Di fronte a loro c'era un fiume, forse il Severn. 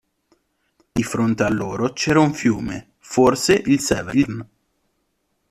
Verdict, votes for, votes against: rejected, 0, 2